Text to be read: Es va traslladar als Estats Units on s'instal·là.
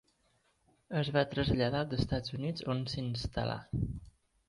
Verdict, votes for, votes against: rejected, 1, 3